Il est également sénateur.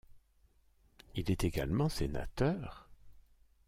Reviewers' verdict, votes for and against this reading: accepted, 2, 0